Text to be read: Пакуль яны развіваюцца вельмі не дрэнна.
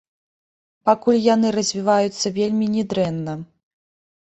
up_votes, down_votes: 1, 2